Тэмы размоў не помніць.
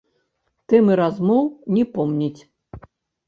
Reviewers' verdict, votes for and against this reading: rejected, 0, 2